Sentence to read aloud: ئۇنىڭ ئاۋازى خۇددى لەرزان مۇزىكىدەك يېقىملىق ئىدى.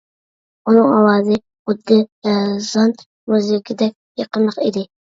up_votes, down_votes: 2, 1